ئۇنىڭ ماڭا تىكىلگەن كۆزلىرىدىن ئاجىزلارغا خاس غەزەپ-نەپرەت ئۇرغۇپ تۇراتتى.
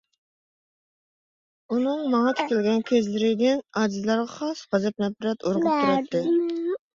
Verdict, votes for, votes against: rejected, 0, 2